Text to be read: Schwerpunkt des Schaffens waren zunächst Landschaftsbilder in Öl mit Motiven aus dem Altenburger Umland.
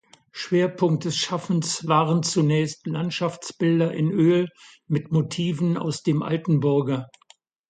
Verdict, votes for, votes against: rejected, 0, 2